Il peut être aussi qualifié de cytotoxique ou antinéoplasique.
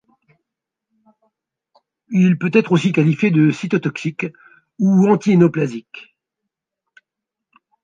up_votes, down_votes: 2, 1